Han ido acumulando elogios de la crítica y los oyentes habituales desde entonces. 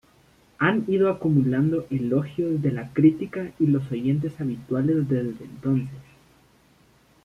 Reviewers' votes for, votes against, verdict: 1, 2, rejected